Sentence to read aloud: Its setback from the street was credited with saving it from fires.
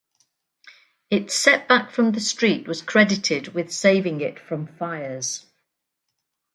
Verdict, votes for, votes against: accepted, 4, 0